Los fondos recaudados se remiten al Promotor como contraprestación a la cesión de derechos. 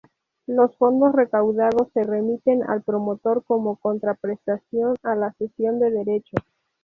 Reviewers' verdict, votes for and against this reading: accepted, 2, 0